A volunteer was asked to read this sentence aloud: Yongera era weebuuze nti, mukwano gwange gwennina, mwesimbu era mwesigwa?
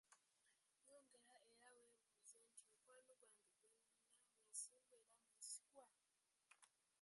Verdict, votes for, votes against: rejected, 0, 2